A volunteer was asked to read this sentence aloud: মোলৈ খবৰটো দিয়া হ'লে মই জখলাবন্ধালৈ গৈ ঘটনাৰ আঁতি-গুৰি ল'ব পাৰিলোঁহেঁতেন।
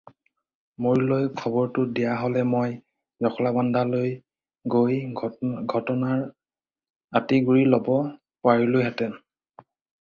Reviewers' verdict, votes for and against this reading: rejected, 2, 2